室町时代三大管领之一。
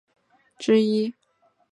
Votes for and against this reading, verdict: 0, 2, rejected